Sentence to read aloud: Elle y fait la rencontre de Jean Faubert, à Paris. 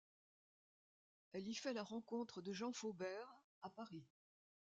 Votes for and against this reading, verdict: 2, 1, accepted